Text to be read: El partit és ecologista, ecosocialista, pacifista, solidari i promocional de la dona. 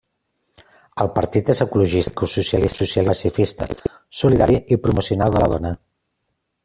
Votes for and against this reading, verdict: 0, 2, rejected